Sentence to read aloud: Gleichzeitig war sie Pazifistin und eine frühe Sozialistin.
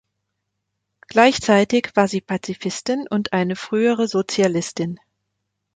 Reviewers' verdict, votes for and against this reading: rejected, 0, 2